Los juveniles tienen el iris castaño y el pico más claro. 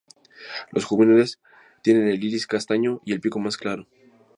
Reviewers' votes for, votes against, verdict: 2, 0, accepted